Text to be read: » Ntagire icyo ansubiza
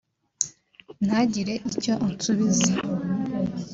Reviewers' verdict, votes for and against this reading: accepted, 2, 0